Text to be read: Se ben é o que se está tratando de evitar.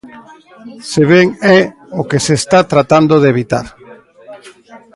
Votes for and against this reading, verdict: 2, 0, accepted